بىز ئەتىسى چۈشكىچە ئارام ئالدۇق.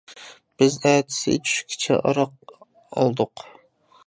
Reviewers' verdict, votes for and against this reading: rejected, 1, 2